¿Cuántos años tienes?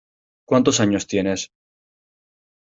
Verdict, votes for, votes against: accepted, 2, 0